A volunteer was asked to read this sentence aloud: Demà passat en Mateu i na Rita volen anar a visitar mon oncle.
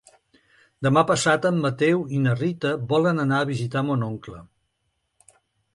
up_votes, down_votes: 3, 0